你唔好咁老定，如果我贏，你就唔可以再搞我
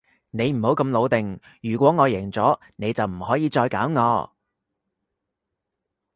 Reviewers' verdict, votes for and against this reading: rejected, 0, 2